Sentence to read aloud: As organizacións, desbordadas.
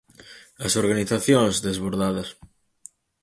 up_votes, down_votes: 4, 0